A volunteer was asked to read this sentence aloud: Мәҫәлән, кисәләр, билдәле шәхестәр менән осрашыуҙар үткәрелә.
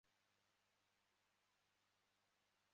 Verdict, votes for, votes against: rejected, 0, 2